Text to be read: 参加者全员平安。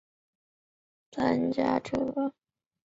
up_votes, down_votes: 1, 2